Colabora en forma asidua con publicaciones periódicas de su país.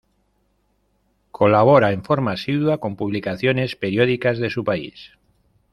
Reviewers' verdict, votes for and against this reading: accepted, 2, 0